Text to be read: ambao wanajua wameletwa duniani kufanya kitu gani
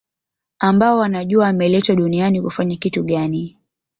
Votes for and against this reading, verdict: 2, 1, accepted